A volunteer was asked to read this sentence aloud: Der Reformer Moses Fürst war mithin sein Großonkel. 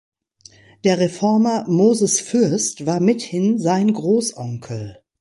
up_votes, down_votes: 2, 0